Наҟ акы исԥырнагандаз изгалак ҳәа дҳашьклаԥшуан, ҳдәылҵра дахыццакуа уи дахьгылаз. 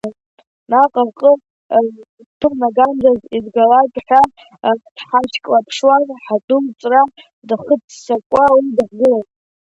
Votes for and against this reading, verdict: 0, 2, rejected